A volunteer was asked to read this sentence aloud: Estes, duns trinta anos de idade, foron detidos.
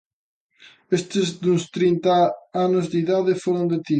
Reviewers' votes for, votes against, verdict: 0, 2, rejected